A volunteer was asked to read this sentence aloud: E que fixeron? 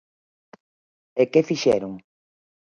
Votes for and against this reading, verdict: 4, 0, accepted